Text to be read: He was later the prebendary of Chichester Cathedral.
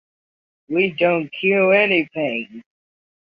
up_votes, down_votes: 0, 2